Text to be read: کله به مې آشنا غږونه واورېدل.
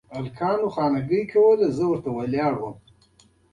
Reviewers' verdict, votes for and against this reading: rejected, 0, 2